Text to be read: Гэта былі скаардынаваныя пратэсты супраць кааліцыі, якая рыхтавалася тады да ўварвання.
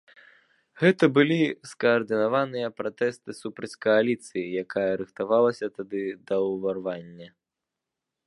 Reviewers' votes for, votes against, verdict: 2, 0, accepted